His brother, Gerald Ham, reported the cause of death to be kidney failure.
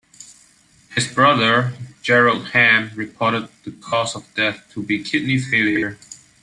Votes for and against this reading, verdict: 0, 2, rejected